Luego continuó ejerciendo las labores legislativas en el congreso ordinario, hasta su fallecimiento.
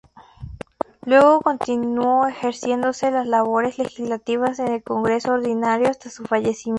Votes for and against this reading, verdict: 0, 2, rejected